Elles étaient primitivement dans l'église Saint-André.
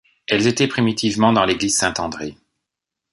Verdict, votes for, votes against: accepted, 2, 0